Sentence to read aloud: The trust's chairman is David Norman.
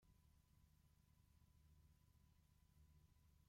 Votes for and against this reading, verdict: 0, 2, rejected